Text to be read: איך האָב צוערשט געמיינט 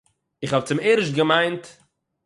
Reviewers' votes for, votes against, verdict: 9, 0, accepted